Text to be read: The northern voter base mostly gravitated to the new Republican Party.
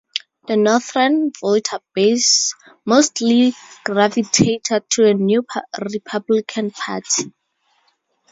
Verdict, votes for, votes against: rejected, 0, 2